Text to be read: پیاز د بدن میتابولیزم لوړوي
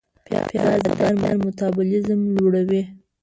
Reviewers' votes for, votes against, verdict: 1, 2, rejected